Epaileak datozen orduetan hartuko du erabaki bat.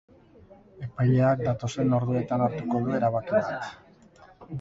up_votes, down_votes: 4, 2